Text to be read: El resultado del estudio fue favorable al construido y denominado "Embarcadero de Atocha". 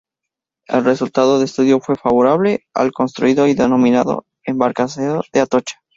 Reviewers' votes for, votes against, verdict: 2, 2, rejected